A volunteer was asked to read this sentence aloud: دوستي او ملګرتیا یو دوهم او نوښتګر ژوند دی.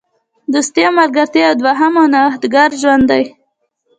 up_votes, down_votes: 3, 0